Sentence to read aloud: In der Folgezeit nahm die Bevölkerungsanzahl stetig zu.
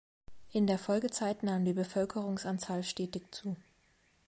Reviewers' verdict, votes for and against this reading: accepted, 2, 0